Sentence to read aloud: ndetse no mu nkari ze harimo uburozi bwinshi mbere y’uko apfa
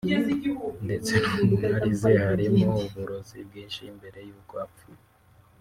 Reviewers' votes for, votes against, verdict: 0, 2, rejected